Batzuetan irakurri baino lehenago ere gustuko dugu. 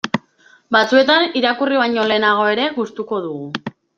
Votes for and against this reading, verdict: 2, 0, accepted